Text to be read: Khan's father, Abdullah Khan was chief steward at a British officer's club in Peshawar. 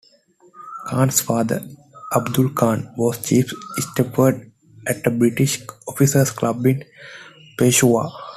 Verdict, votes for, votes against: accepted, 2, 1